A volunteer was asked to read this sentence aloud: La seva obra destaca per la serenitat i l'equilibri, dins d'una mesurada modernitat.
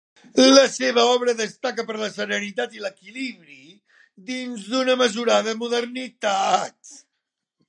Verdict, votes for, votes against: accepted, 2, 1